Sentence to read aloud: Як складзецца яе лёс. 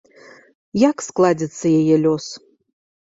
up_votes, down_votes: 0, 2